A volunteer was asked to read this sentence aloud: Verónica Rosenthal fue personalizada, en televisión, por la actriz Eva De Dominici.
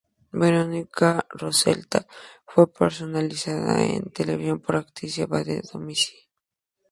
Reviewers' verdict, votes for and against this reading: rejected, 0, 2